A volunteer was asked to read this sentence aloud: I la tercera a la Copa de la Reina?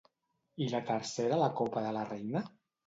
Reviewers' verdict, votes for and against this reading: rejected, 0, 2